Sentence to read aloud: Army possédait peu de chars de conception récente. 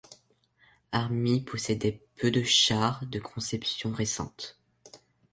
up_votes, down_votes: 2, 0